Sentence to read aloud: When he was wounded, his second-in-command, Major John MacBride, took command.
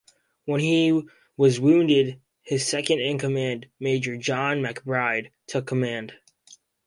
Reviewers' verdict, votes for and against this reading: accepted, 4, 0